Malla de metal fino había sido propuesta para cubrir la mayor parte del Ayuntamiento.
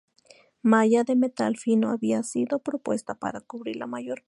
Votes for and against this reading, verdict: 0, 2, rejected